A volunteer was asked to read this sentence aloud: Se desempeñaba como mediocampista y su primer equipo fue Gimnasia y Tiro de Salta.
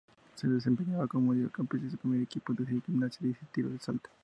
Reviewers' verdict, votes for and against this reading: rejected, 0, 2